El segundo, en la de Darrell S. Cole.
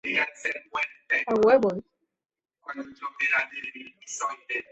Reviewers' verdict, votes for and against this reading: rejected, 0, 2